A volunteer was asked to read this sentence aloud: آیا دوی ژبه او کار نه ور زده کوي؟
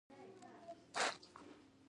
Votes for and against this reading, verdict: 2, 0, accepted